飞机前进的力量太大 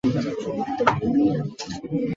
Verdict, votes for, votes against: rejected, 1, 2